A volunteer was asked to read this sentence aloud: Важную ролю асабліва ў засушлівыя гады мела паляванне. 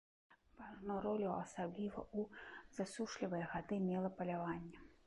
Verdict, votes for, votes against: rejected, 0, 2